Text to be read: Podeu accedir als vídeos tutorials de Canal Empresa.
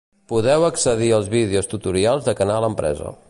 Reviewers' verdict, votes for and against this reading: accepted, 2, 0